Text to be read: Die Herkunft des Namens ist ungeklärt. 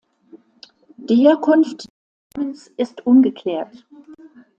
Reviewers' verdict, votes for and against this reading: rejected, 0, 2